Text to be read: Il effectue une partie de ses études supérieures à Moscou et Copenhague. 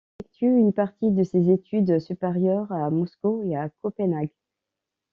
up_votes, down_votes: 0, 2